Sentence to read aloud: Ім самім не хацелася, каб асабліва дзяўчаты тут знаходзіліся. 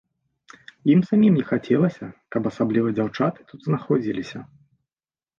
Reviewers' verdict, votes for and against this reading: accepted, 2, 0